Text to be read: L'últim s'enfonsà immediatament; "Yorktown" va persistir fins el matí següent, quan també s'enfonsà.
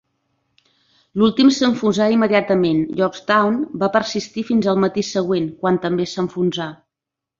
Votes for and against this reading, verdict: 2, 0, accepted